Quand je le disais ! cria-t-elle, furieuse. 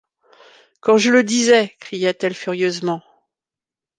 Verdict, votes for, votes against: rejected, 0, 2